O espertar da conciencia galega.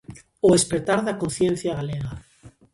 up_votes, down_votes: 2, 0